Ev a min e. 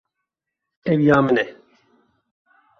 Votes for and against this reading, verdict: 1, 2, rejected